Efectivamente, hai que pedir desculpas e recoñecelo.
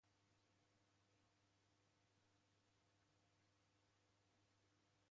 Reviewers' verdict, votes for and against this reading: rejected, 0, 2